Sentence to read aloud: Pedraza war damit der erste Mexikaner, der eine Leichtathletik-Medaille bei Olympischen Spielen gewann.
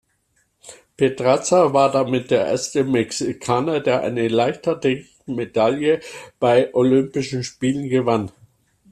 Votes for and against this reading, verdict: 1, 2, rejected